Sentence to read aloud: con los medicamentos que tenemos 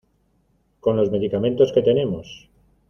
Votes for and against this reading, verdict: 2, 0, accepted